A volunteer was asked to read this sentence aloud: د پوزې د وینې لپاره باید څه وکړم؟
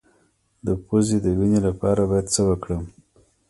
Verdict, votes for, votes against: rejected, 0, 2